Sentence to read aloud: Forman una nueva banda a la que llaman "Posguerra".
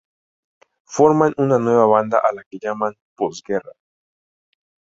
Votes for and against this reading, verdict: 4, 0, accepted